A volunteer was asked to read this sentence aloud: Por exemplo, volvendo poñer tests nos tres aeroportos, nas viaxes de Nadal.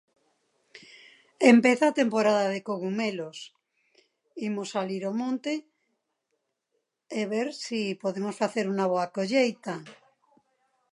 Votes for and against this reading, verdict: 0, 2, rejected